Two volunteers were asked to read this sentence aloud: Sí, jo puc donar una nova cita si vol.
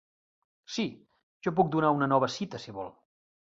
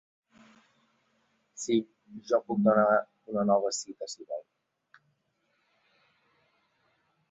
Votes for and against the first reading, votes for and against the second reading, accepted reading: 3, 0, 1, 2, first